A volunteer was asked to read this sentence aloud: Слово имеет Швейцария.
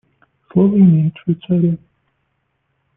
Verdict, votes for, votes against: rejected, 0, 2